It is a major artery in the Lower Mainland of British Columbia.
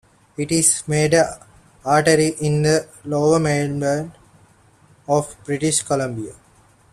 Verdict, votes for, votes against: rejected, 0, 3